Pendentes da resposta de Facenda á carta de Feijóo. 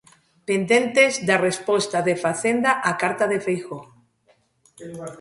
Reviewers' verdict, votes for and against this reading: accepted, 2, 0